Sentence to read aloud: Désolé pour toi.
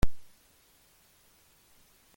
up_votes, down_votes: 0, 2